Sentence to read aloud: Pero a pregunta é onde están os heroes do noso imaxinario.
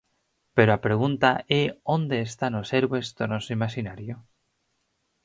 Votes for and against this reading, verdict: 0, 4, rejected